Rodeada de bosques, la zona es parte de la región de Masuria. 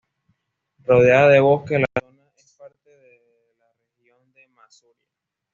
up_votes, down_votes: 1, 2